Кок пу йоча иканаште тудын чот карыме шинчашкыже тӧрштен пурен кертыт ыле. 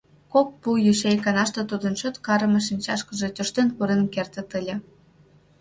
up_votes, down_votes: 2, 0